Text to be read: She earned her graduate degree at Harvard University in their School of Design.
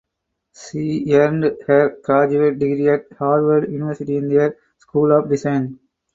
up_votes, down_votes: 2, 4